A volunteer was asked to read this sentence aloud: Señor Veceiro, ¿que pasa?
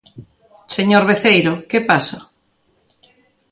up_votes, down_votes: 2, 0